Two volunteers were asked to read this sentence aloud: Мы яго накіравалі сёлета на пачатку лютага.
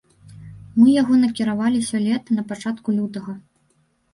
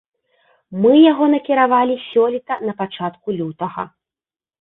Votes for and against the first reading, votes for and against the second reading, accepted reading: 1, 2, 2, 0, second